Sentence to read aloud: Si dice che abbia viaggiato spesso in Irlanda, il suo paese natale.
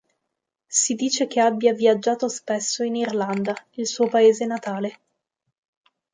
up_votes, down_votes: 3, 0